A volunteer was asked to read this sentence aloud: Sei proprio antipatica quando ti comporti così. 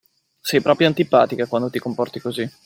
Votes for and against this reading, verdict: 2, 0, accepted